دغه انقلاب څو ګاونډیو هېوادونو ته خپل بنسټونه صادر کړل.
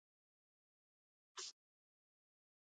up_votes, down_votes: 1, 2